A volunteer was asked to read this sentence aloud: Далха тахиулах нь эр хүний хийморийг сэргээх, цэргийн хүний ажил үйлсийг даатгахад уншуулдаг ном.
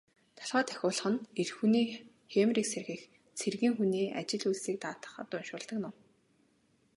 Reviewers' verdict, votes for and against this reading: rejected, 1, 2